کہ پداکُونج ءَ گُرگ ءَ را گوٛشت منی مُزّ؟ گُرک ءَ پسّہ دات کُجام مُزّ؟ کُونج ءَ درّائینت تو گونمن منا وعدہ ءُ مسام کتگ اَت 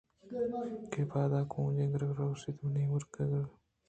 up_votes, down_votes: 0, 2